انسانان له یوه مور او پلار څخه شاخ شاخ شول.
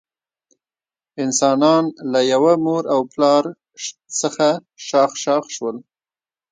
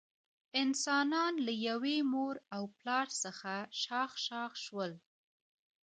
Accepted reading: second